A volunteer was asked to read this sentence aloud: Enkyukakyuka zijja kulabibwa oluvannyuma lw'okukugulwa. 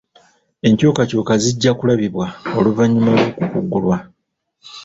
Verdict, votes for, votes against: rejected, 1, 2